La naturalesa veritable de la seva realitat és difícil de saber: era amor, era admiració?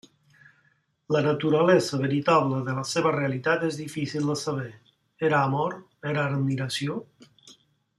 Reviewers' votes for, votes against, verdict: 2, 0, accepted